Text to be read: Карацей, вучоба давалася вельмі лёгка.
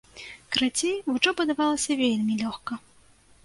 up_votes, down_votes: 2, 0